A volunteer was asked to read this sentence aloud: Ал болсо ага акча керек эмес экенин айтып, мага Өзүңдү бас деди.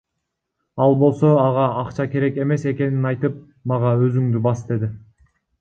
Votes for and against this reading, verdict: 0, 2, rejected